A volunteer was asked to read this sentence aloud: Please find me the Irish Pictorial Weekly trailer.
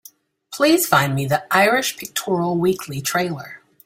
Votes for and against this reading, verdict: 2, 0, accepted